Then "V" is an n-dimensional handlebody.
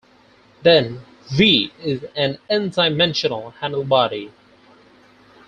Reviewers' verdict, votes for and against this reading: rejected, 0, 4